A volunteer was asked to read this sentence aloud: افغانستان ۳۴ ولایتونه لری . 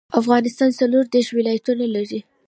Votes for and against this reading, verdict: 0, 2, rejected